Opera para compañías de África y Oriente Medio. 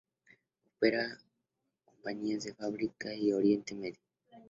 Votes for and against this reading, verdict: 2, 0, accepted